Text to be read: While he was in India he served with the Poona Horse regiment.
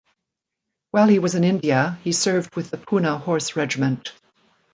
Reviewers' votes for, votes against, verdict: 3, 0, accepted